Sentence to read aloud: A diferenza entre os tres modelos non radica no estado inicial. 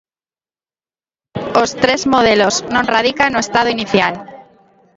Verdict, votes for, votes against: rejected, 0, 2